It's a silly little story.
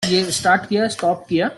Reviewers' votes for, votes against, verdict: 0, 2, rejected